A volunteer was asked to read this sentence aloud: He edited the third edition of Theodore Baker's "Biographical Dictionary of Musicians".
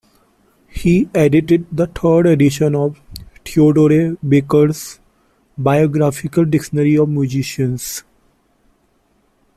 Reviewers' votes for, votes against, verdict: 2, 1, accepted